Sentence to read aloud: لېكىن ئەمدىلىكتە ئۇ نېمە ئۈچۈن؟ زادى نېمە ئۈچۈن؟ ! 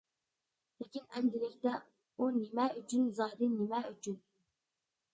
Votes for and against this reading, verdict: 2, 1, accepted